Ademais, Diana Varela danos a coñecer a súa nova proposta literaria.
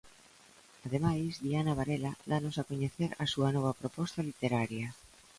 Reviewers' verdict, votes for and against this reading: accepted, 2, 0